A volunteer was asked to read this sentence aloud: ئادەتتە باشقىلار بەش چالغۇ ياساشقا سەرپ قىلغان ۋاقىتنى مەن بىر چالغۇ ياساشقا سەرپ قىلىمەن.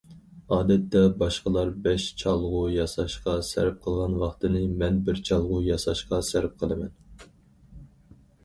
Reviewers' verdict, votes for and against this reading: rejected, 2, 4